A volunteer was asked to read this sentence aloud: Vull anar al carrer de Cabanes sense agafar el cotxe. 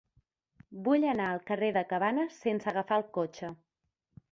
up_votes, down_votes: 4, 0